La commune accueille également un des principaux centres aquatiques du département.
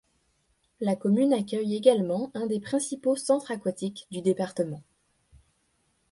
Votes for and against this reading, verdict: 2, 1, accepted